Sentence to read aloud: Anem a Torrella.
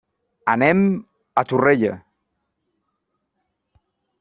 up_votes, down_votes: 3, 0